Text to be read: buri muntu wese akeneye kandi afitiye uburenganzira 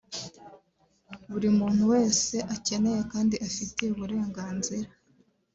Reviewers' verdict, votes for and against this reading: accepted, 3, 0